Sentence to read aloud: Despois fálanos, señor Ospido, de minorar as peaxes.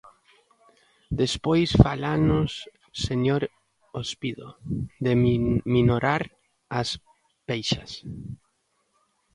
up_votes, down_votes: 0, 2